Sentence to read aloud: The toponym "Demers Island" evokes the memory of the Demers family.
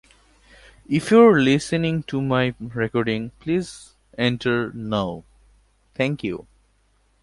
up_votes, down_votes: 0, 2